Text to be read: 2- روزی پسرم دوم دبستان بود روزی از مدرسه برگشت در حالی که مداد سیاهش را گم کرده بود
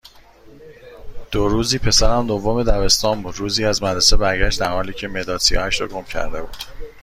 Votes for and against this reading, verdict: 0, 2, rejected